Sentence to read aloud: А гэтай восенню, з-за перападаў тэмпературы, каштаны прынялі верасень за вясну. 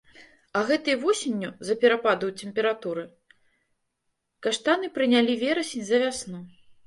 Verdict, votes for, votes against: rejected, 1, 2